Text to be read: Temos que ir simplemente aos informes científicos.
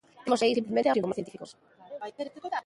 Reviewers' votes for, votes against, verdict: 0, 2, rejected